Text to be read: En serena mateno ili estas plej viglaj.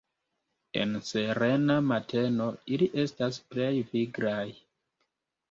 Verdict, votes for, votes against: rejected, 0, 2